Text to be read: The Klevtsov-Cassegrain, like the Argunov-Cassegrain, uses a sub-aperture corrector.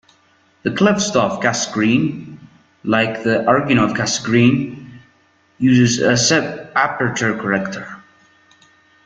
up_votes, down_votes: 1, 2